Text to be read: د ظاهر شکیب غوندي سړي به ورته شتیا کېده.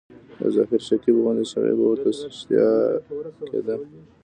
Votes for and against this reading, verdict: 1, 2, rejected